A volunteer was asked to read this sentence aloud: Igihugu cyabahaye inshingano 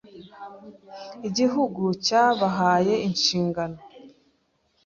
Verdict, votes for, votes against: accepted, 2, 0